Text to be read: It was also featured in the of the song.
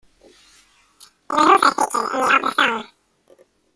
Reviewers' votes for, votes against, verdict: 0, 2, rejected